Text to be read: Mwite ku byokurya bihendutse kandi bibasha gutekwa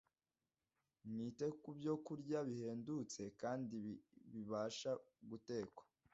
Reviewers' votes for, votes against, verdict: 2, 0, accepted